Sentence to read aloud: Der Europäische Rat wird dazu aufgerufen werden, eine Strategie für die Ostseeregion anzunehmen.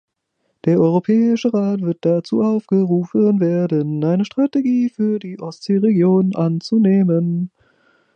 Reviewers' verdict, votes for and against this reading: rejected, 0, 2